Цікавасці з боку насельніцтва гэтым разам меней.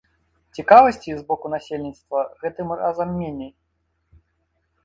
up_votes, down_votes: 2, 0